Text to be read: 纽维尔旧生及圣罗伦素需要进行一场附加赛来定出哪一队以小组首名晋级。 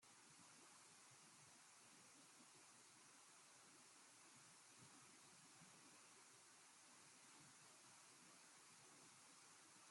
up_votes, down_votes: 0, 2